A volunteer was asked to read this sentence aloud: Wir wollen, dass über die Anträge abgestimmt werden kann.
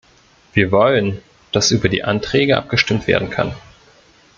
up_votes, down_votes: 2, 0